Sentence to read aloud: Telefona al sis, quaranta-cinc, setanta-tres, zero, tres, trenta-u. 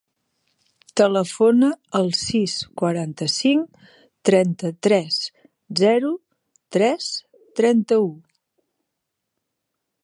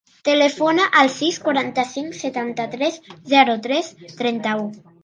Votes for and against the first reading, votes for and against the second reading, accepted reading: 0, 3, 3, 0, second